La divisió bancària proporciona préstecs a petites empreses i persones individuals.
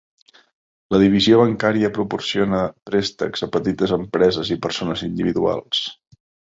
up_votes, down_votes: 3, 0